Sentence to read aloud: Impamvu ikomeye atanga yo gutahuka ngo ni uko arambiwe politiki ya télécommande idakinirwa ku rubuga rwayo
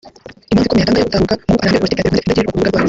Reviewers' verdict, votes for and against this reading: rejected, 0, 3